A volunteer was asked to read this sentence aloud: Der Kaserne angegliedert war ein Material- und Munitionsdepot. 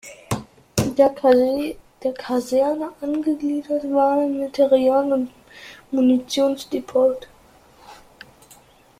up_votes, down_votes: 0, 3